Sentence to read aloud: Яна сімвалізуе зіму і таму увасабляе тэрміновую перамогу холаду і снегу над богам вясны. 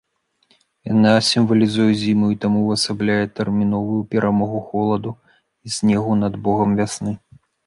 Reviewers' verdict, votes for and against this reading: accepted, 2, 0